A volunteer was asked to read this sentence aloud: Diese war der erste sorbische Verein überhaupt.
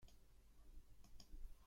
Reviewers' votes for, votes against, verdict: 0, 2, rejected